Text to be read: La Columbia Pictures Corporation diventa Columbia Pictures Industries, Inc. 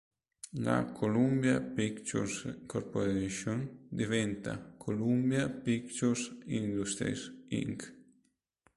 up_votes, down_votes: 2, 0